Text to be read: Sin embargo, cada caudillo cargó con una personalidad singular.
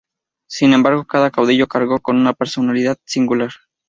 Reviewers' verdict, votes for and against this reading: accepted, 2, 0